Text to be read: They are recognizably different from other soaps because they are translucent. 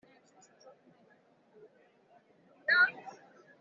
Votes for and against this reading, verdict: 0, 2, rejected